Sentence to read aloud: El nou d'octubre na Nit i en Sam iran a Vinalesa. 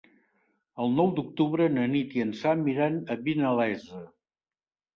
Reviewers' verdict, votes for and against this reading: accepted, 5, 0